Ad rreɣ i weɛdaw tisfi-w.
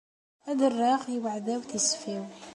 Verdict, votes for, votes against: accepted, 2, 0